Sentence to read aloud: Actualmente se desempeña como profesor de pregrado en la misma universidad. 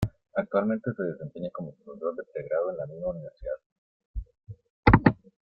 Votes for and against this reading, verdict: 0, 2, rejected